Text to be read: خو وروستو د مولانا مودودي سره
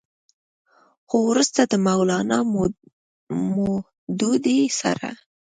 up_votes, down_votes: 1, 2